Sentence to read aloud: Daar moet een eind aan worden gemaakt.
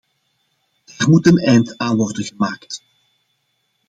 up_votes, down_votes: 2, 1